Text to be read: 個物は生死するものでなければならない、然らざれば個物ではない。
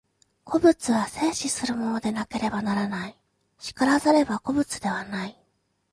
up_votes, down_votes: 2, 0